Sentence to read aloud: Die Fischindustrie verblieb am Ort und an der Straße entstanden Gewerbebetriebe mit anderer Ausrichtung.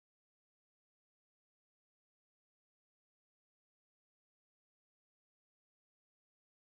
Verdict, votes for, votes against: rejected, 0, 2